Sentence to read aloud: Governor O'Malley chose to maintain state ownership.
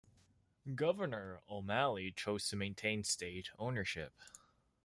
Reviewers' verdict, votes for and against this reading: rejected, 1, 2